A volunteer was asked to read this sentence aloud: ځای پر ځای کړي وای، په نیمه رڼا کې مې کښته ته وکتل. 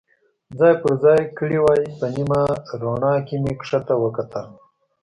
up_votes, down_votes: 2, 0